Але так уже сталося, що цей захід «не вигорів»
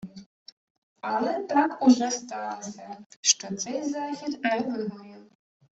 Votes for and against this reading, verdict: 2, 1, accepted